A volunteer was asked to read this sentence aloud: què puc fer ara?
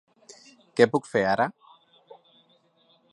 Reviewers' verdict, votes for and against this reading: accepted, 3, 0